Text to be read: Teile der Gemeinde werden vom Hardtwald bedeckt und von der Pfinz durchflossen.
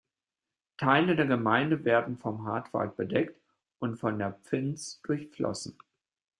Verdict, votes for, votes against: accepted, 2, 0